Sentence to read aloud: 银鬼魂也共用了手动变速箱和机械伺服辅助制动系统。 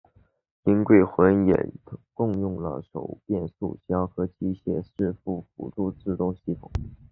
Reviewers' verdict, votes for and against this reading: rejected, 1, 2